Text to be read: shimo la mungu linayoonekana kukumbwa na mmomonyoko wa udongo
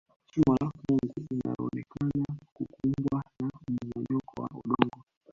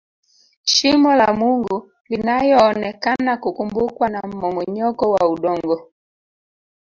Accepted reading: second